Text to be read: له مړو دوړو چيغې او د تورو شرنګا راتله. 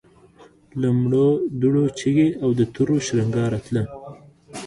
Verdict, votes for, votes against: rejected, 1, 2